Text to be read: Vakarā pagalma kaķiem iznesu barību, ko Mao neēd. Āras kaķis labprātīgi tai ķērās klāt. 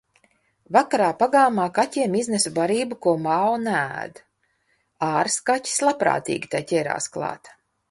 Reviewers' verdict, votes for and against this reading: rejected, 1, 2